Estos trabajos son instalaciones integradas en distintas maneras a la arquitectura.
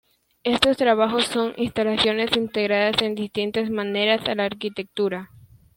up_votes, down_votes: 2, 1